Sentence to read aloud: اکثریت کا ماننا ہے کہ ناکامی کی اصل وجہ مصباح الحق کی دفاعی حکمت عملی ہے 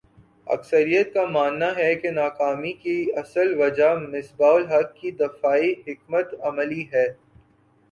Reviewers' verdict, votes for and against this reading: accepted, 2, 0